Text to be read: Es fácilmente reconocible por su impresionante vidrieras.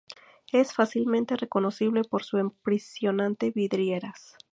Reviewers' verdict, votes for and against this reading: rejected, 0, 2